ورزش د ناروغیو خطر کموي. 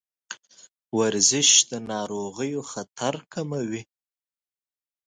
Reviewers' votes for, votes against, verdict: 2, 0, accepted